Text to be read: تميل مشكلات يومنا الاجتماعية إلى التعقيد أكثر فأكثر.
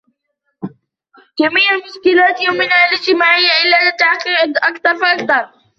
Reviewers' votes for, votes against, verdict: 0, 2, rejected